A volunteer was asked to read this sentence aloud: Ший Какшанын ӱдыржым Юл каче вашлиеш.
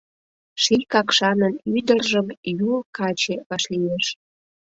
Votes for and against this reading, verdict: 2, 0, accepted